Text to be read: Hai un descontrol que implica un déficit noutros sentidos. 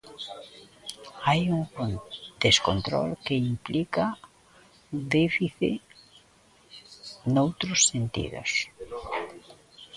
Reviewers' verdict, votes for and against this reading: rejected, 0, 2